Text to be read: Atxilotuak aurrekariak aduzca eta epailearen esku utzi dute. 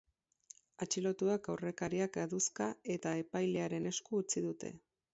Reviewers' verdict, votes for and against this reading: rejected, 4, 6